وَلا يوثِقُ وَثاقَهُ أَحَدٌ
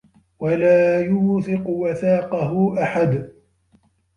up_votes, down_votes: 2, 1